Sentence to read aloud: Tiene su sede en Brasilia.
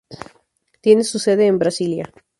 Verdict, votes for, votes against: rejected, 2, 2